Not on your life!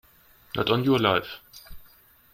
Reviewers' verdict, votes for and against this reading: accepted, 2, 0